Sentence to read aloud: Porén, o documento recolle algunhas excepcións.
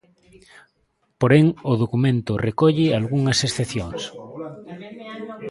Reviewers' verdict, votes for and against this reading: rejected, 0, 2